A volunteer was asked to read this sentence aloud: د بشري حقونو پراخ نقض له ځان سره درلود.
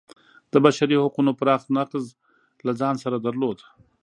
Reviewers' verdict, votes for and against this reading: accepted, 2, 1